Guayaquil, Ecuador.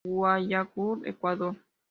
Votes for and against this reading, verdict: 1, 2, rejected